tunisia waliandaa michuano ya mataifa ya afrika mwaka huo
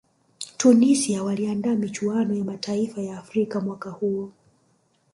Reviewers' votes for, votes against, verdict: 2, 1, accepted